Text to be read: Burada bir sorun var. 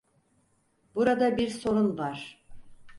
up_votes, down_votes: 4, 0